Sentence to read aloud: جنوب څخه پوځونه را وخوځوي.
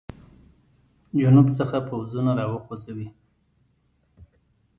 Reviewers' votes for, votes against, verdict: 2, 1, accepted